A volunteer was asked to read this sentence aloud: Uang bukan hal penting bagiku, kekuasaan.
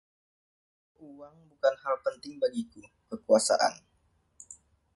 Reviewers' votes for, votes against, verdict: 1, 2, rejected